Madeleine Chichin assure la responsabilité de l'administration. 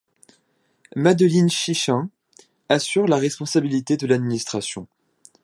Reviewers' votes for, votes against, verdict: 1, 2, rejected